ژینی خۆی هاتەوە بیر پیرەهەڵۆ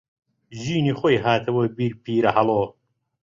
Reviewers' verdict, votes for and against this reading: accepted, 2, 0